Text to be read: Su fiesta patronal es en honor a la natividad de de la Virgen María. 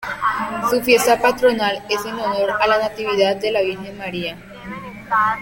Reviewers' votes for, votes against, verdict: 0, 2, rejected